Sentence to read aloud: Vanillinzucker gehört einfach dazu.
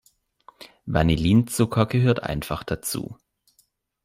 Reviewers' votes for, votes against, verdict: 2, 0, accepted